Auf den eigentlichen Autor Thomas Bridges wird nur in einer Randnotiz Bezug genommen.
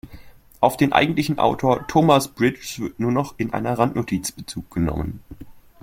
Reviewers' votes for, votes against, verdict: 0, 2, rejected